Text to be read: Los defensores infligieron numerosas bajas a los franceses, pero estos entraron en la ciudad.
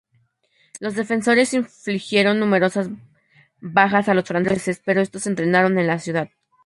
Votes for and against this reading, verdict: 0, 2, rejected